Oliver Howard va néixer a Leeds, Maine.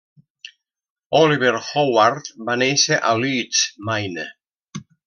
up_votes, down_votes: 1, 2